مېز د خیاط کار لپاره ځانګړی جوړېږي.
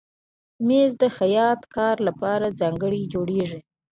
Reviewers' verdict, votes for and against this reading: accepted, 3, 0